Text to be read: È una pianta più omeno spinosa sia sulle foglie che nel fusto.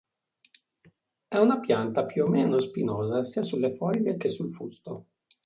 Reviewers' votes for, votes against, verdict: 1, 2, rejected